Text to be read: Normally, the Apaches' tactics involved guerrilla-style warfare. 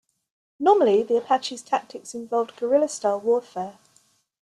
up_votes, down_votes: 2, 0